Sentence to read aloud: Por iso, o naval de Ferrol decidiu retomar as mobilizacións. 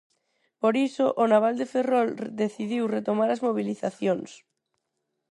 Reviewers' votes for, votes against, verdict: 4, 2, accepted